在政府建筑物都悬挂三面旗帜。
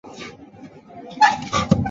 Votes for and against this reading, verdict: 0, 2, rejected